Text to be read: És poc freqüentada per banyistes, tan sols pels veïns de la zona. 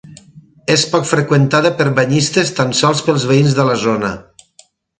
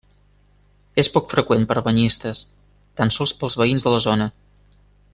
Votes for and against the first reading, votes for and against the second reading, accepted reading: 6, 0, 0, 2, first